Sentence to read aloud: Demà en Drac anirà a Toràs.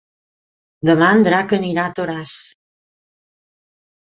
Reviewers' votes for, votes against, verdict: 3, 0, accepted